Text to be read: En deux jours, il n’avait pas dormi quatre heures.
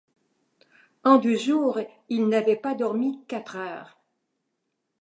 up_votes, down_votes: 2, 0